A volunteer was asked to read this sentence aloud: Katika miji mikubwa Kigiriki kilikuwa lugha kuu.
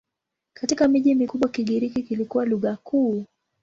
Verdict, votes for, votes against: accepted, 2, 0